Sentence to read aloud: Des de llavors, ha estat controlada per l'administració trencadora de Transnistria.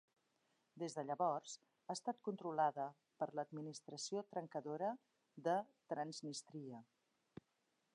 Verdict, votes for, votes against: accepted, 4, 0